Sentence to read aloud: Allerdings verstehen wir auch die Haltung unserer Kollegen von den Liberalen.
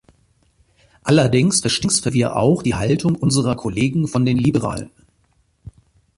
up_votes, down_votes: 0, 2